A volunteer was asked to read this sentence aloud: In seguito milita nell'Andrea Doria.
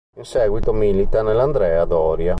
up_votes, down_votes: 2, 0